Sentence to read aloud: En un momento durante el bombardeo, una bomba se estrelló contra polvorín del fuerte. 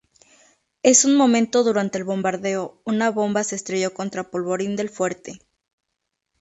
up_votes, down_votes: 0, 2